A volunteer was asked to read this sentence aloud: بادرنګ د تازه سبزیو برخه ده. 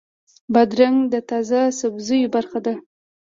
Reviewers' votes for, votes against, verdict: 2, 0, accepted